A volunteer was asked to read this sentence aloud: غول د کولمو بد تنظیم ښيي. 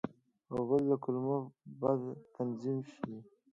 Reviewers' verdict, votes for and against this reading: rejected, 0, 2